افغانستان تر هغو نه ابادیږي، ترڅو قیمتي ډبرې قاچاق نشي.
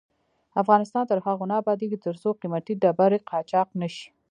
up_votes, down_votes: 0, 2